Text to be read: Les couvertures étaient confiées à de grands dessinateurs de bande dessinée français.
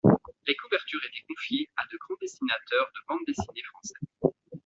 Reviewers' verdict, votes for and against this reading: accepted, 2, 0